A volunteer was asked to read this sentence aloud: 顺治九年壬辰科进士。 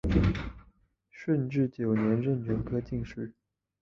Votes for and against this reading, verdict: 4, 1, accepted